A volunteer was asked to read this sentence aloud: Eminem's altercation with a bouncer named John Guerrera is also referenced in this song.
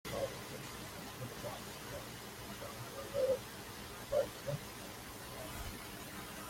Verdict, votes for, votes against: rejected, 0, 2